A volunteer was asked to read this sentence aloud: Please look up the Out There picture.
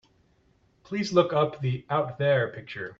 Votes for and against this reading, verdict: 2, 0, accepted